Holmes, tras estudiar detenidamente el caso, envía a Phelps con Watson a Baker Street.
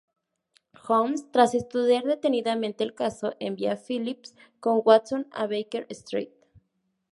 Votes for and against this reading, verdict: 4, 2, accepted